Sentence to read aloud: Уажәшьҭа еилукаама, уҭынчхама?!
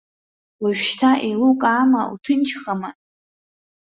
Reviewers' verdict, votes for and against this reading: accepted, 2, 1